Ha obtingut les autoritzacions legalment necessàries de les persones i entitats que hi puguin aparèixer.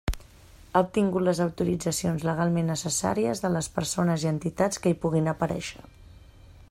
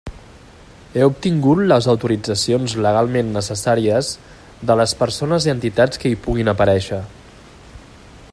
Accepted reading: first